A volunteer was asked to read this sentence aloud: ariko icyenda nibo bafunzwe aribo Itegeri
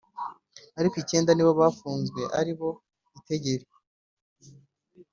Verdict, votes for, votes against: accepted, 3, 0